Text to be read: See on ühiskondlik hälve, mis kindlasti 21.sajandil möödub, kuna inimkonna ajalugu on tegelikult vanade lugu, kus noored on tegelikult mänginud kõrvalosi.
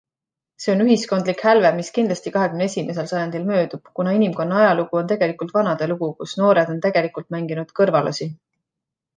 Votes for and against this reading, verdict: 0, 2, rejected